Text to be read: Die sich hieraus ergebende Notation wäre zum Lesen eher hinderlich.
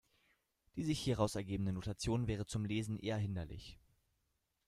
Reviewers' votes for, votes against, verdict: 2, 1, accepted